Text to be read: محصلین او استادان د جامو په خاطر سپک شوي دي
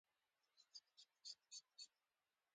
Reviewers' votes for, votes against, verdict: 1, 2, rejected